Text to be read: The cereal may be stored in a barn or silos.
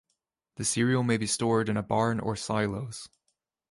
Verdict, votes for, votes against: accepted, 2, 0